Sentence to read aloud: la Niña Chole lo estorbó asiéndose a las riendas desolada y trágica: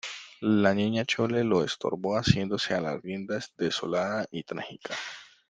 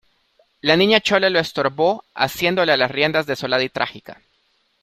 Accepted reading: first